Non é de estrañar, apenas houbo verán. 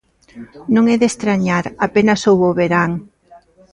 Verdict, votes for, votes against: accepted, 3, 0